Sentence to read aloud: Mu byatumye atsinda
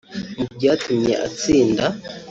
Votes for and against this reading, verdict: 3, 0, accepted